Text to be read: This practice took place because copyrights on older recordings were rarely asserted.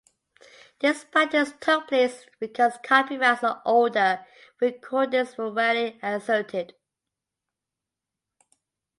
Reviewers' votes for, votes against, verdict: 1, 2, rejected